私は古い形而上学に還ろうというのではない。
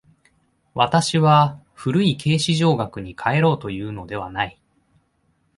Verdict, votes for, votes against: accepted, 2, 1